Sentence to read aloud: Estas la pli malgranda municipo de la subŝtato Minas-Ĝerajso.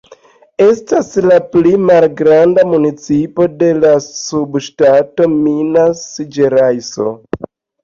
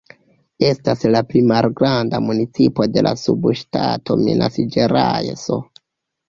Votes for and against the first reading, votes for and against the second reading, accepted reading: 2, 0, 1, 2, first